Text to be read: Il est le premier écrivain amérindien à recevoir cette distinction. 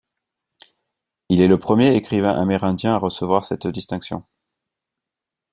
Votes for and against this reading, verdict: 2, 0, accepted